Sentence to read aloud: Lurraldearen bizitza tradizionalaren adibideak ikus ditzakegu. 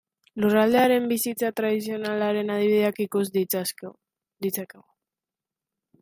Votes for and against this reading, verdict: 2, 3, rejected